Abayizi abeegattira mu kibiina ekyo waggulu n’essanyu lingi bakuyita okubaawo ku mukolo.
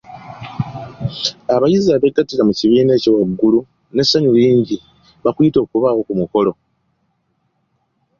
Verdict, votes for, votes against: accepted, 2, 0